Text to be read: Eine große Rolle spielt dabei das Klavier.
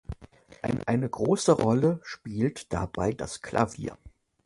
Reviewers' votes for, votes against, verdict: 1, 2, rejected